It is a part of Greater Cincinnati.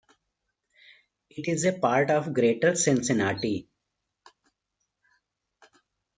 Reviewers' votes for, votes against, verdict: 2, 0, accepted